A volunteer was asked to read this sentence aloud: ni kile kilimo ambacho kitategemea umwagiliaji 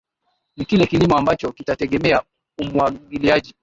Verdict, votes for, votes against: accepted, 2, 1